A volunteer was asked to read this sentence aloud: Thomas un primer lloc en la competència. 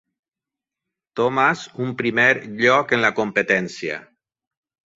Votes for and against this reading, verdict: 3, 0, accepted